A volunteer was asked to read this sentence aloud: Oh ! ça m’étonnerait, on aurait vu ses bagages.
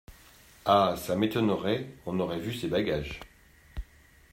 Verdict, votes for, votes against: rejected, 0, 2